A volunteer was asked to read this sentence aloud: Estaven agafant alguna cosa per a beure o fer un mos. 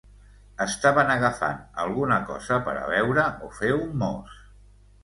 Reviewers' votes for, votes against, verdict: 2, 0, accepted